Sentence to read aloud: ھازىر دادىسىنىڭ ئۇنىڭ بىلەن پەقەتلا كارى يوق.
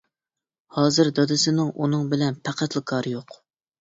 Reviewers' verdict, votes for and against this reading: accepted, 2, 0